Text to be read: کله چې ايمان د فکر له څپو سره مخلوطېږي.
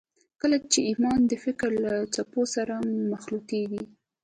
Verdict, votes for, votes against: accepted, 2, 1